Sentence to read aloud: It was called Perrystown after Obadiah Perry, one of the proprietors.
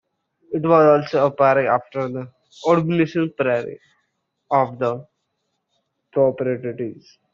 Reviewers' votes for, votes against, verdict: 0, 2, rejected